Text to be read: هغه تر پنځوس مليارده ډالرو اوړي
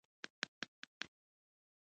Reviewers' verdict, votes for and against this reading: rejected, 0, 2